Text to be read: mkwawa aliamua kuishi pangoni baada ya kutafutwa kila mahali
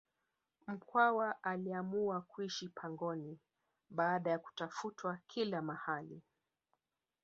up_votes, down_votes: 1, 2